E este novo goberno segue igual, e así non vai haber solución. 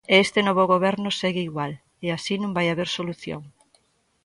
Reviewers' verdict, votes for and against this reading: accepted, 2, 0